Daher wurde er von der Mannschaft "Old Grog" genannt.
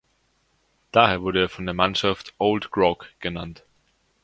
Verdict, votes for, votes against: accepted, 2, 0